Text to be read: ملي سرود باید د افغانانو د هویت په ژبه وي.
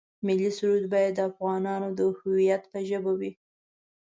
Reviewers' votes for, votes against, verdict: 3, 0, accepted